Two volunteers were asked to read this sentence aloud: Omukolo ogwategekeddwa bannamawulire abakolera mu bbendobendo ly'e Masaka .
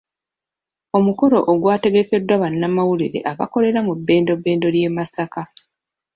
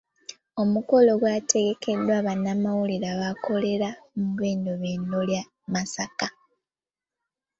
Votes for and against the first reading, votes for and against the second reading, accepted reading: 2, 1, 0, 2, first